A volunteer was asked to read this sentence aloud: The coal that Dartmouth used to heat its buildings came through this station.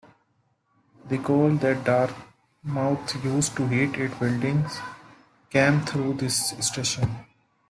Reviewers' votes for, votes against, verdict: 0, 2, rejected